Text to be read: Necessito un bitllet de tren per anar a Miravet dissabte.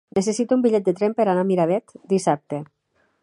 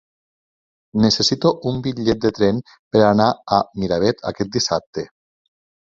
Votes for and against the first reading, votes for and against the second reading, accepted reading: 3, 0, 1, 2, first